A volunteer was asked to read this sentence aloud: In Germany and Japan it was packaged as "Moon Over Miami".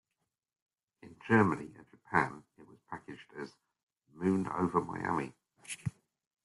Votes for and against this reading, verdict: 0, 2, rejected